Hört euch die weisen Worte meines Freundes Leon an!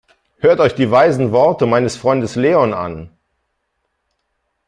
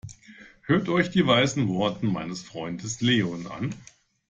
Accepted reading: first